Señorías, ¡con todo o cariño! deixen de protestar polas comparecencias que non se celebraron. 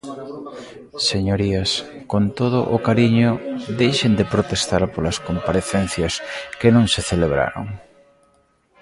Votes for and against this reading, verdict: 0, 2, rejected